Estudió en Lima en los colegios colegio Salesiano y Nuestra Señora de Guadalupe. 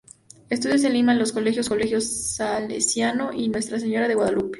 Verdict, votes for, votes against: rejected, 0, 2